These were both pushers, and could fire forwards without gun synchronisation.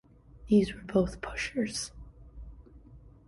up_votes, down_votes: 0, 2